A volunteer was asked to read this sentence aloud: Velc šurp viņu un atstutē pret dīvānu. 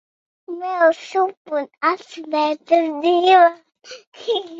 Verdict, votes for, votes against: rejected, 0, 2